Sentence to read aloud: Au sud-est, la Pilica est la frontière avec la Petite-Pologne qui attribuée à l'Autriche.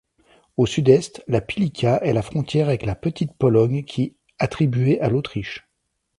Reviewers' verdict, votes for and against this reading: accepted, 2, 0